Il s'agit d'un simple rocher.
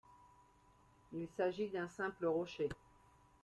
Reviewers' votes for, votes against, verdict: 2, 1, accepted